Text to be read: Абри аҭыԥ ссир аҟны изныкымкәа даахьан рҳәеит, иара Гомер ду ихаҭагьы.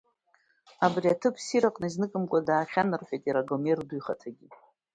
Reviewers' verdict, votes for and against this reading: accepted, 2, 0